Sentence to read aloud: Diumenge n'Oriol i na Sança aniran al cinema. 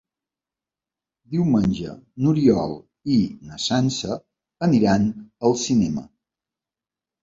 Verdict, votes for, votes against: accepted, 4, 0